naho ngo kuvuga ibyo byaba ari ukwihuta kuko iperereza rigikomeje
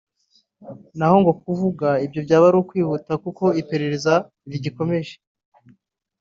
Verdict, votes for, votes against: accepted, 2, 0